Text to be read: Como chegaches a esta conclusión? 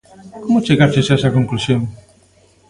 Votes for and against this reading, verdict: 2, 0, accepted